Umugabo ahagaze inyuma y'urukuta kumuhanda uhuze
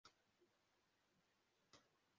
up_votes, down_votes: 0, 2